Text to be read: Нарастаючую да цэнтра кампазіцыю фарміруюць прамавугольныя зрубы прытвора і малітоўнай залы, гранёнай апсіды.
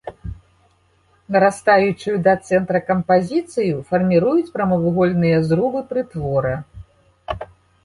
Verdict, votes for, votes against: rejected, 0, 2